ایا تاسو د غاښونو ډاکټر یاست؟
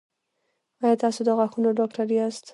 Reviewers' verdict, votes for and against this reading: accepted, 2, 1